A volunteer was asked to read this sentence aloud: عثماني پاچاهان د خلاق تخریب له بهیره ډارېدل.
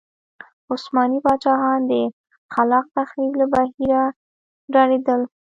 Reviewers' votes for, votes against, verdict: 1, 2, rejected